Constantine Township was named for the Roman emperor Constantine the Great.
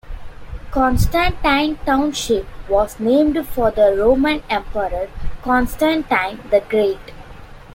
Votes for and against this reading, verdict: 2, 1, accepted